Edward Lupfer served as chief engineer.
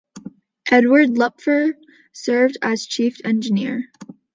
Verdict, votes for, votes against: accepted, 2, 0